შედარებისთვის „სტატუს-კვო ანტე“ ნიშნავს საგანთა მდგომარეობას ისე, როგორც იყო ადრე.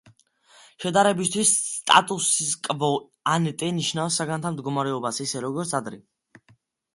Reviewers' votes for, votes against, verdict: 2, 1, accepted